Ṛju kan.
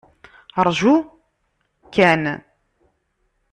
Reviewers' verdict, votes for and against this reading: rejected, 0, 2